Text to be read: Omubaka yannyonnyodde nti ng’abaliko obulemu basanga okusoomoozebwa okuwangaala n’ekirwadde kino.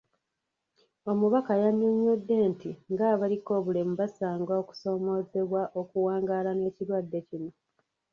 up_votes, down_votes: 1, 2